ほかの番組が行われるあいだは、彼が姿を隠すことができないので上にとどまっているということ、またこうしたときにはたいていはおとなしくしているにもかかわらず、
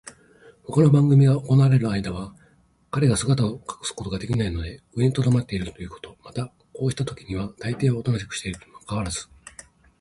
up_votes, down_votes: 3, 1